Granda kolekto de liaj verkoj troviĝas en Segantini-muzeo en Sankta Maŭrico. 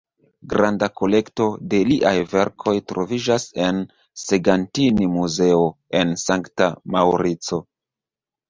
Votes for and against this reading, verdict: 2, 0, accepted